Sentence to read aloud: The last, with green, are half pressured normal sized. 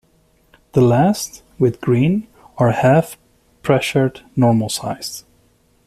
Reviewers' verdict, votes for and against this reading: accepted, 2, 0